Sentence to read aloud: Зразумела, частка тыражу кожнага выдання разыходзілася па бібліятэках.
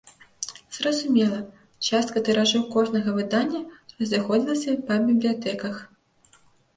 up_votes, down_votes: 1, 2